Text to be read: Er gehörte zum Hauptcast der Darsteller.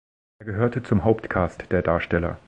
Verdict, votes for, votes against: accepted, 2, 0